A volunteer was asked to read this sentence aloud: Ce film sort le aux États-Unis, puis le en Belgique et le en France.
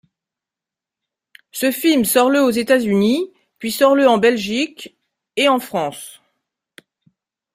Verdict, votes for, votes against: rejected, 0, 2